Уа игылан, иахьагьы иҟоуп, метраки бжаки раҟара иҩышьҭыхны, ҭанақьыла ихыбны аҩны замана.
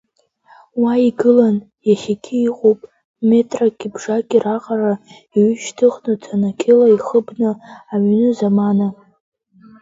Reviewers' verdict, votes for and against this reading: rejected, 0, 2